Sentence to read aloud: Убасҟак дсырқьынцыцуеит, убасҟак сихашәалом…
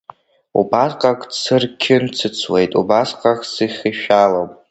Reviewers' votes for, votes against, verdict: 0, 2, rejected